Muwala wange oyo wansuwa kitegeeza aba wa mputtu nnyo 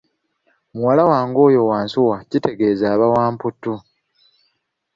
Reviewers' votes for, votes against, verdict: 1, 2, rejected